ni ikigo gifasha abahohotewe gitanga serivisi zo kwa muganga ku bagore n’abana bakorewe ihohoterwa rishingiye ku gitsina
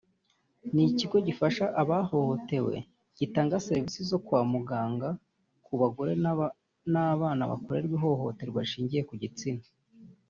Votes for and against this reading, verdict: 0, 2, rejected